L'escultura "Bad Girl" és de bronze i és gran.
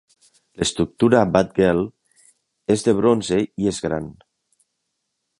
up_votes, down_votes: 0, 2